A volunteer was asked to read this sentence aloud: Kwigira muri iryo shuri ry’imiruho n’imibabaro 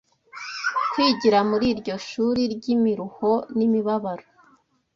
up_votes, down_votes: 2, 0